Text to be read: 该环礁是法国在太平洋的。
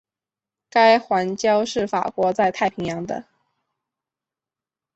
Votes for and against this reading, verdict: 3, 0, accepted